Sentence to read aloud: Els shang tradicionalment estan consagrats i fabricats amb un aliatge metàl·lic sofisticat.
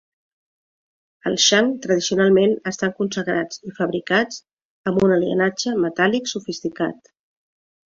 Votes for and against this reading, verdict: 0, 2, rejected